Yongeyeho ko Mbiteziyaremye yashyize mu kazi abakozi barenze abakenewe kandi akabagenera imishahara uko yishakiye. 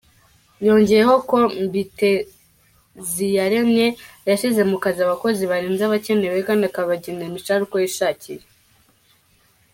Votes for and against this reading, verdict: 2, 0, accepted